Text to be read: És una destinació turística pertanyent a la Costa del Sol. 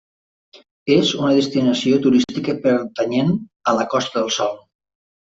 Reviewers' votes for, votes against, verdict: 0, 2, rejected